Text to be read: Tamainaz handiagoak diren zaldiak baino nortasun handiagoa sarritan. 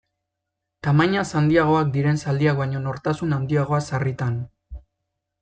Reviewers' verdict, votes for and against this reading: accepted, 2, 0